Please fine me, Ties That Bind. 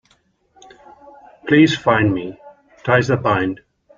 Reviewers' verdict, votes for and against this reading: accepted, 2, 0